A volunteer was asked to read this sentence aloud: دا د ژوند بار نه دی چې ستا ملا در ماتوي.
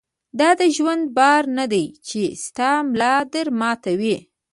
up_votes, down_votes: 0, 2